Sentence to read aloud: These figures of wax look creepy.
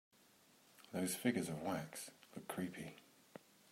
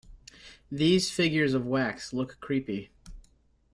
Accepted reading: second